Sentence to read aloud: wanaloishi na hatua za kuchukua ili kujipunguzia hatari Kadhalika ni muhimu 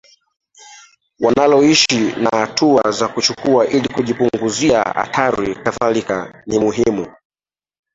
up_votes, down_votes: 2, 1